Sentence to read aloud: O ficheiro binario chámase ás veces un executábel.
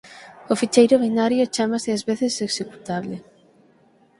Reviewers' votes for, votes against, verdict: 3, 6, rejected